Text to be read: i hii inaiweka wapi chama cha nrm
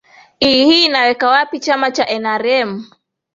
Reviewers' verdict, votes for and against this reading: accepted, 2, 0